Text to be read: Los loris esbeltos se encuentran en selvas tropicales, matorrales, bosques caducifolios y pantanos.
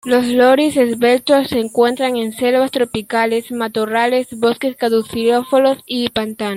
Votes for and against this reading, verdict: 1, 2, rejected